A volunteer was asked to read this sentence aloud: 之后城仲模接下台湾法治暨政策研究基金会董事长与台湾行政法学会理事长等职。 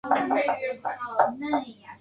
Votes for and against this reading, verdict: 0, 4, rejected